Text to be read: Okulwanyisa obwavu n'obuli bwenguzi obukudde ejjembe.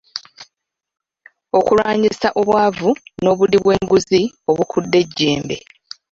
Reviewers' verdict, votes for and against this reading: accepted, 2, 0